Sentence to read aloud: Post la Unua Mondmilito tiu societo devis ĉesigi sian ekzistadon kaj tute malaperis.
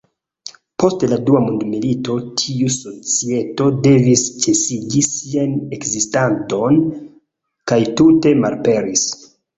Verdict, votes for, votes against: rejected, 0, 2